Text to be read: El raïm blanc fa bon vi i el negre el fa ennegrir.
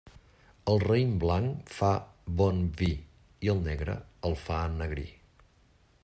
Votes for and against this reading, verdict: 2, 0, accepted